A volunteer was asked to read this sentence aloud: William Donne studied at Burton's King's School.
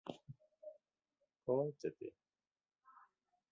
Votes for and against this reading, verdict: 0, 2, rejected